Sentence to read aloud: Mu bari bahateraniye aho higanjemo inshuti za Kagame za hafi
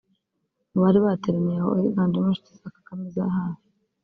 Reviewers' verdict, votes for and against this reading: rejected, 0, 2